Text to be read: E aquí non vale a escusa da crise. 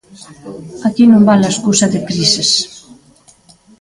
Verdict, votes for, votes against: rejected, 0, 2